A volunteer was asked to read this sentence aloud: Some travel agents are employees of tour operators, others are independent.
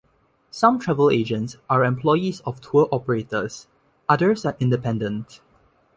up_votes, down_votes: 2, 0